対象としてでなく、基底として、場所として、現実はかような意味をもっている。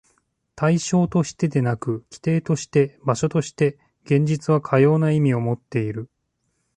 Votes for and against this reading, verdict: 2, 0, accepted